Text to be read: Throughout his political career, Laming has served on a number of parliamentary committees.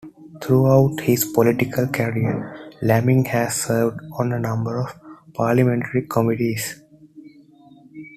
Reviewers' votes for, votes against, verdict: 2, 0, accepted